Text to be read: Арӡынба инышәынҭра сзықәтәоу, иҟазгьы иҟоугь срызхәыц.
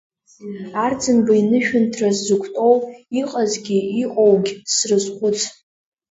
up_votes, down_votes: 2, 0